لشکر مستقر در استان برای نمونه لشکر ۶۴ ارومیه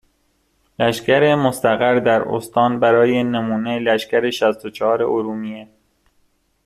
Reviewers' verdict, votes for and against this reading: rejected, 0, 2